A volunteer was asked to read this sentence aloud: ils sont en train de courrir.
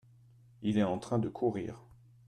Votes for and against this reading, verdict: 0, 2, rejected